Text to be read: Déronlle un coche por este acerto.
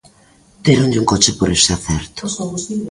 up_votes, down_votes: 0, 2